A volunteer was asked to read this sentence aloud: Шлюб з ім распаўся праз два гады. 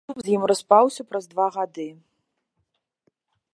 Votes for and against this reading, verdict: 0, 2, rejected